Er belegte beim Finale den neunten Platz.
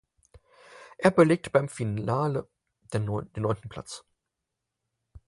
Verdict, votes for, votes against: rejected, 0, 4